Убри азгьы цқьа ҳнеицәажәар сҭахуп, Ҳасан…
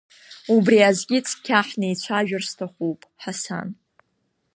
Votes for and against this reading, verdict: 2, 1, accepted